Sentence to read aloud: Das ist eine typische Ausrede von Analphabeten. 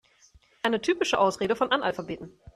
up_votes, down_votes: 1, 2